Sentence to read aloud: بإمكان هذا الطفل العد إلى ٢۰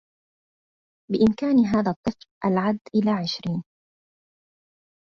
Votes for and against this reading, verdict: 0, 2, rejected